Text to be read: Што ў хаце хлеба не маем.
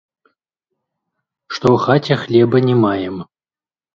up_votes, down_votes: 0, 3